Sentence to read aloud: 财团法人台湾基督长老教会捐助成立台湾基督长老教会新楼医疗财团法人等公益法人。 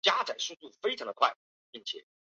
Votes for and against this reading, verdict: 0, 4, rejected